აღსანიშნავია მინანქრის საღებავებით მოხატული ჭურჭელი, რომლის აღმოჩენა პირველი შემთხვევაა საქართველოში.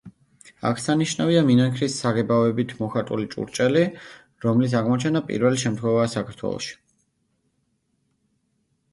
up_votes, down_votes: 2, 0